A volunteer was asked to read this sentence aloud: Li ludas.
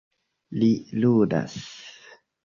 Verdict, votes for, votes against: rejected, 1, 2